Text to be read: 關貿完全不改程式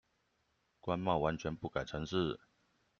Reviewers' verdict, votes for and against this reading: accepted, 2, 0